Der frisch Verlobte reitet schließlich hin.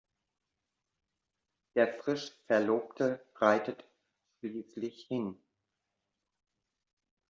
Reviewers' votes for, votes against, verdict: 0, 2, rejected